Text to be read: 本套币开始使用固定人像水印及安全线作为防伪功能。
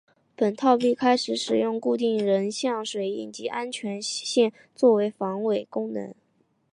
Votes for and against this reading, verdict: 2, 0, accepted